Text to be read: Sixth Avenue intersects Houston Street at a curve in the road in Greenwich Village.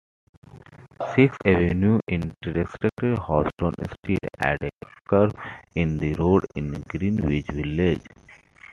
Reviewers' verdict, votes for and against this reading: accepted, 2, 1